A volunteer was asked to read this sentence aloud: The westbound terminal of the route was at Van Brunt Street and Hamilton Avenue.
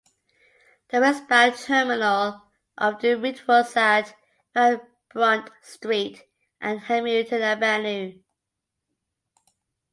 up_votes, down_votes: 2, 0